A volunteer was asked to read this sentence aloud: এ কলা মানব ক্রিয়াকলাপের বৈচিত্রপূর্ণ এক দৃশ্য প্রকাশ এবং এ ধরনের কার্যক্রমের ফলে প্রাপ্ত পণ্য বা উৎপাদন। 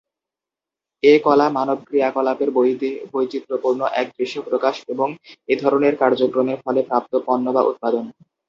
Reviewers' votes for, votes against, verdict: 2, 2, rejected